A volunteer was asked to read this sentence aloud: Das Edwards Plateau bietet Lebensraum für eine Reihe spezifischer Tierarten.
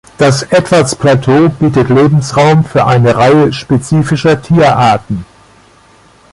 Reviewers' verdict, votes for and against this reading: accepted, 2, 0